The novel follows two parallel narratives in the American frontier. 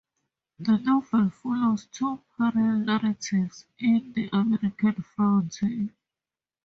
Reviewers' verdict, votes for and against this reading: rejected, 0, 2